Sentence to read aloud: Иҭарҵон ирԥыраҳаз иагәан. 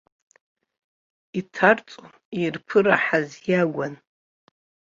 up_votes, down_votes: 1, 2